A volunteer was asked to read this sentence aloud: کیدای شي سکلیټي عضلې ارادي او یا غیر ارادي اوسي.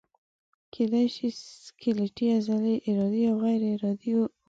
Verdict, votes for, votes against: rejected, 0, 2